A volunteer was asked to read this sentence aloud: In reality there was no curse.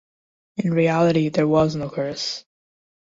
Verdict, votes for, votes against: accepted, 2, 0